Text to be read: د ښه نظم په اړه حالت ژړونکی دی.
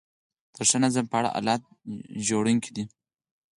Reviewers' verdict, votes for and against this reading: accepted, 4, 2